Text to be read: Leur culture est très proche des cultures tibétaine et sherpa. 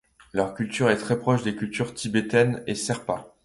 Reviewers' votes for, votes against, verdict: 1, 2, rejected